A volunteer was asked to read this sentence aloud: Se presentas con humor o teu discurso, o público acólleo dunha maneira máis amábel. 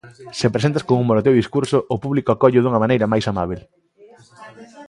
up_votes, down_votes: 1, 2